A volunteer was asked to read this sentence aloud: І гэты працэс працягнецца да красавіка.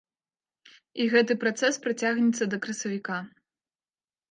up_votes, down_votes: 2, 0